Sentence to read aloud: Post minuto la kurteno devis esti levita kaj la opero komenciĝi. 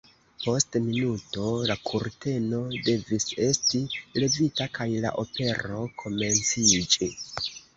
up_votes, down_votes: 1, 3